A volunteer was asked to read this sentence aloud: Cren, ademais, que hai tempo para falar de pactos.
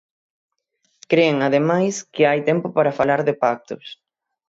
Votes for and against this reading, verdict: 0, 6, rejected